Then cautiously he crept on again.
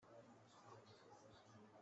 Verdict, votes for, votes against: rejected, 0, 2